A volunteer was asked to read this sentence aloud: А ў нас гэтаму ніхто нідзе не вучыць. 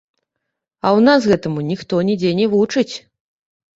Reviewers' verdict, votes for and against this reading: rejected, 0, 2